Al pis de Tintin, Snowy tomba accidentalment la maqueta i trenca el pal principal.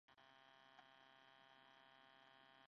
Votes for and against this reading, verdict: 0, 9, rejected